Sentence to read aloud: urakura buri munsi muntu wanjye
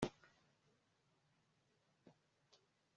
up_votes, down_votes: 1, 2